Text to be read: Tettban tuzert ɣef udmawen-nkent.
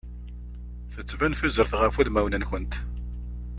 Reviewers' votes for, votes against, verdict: 2, 0, accepted